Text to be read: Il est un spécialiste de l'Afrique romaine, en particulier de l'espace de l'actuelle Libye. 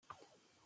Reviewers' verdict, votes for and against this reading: rejected, 1, 2